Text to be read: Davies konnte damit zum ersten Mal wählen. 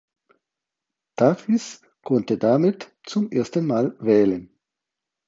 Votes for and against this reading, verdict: 4, 0, accepted